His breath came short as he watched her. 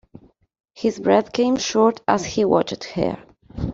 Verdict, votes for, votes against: accepted, 2, 0